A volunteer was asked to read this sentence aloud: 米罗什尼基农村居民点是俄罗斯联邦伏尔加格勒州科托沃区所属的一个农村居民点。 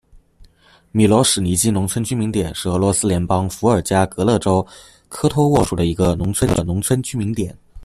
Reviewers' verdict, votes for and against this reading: rejected, 0, 2